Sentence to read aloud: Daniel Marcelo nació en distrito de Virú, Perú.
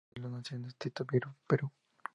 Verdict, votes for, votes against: rejected, 0, 2